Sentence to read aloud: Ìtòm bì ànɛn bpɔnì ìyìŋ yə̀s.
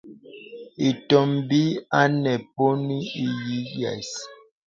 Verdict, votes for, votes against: rejected, 0, 2